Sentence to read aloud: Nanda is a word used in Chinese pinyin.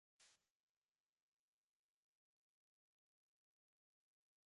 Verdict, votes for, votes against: rejected, 0, 2